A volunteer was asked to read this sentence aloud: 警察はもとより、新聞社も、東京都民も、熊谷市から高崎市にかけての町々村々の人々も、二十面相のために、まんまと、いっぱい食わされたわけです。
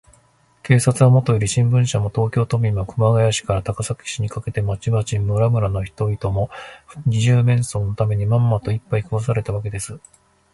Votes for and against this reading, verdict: 2, 0, accepted